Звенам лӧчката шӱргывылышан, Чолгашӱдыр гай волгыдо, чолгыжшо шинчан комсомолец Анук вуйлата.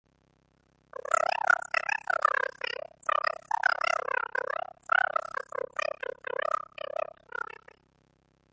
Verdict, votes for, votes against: rejected, 0, 2